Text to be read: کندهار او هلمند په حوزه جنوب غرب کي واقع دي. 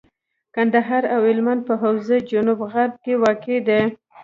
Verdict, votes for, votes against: rejected, 1, 2